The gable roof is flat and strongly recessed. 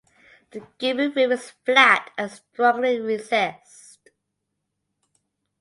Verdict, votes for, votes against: accepted, 2, 0